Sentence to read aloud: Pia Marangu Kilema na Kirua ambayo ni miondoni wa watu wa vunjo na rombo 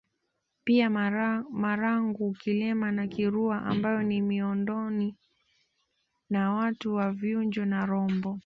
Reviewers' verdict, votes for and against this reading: rejected, 1, 2